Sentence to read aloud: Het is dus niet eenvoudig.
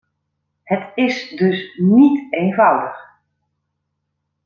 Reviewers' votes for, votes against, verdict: 2, 0, accepted